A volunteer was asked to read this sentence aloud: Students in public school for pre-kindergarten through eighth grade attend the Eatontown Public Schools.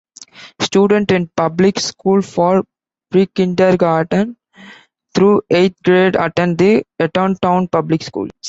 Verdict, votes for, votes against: rejected, 1, 2